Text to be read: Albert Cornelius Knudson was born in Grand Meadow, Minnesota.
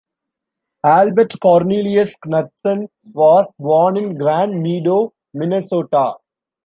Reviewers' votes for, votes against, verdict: 1, 2, rejected